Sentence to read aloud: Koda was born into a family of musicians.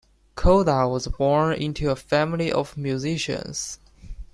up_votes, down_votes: 2, 0